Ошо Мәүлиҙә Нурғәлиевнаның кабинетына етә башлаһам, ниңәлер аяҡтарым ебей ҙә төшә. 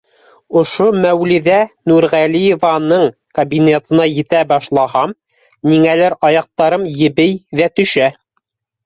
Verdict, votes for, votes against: rejected, 0, 2